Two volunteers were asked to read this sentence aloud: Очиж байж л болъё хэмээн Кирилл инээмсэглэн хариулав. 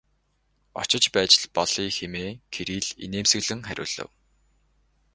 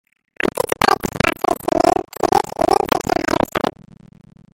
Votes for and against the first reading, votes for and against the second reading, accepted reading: 8, 0, 1, 2, first